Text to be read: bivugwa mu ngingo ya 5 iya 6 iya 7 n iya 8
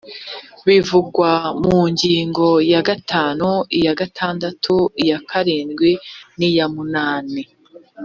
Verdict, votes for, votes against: rejected, 0, 2